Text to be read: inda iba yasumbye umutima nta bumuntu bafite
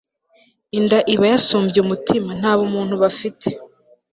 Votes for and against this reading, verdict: 2, 0, accepted